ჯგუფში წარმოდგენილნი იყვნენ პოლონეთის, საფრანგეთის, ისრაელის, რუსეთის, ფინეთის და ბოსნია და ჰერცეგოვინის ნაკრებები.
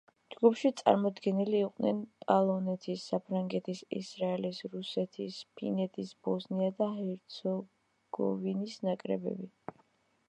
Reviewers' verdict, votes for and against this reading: rejected, 1, 3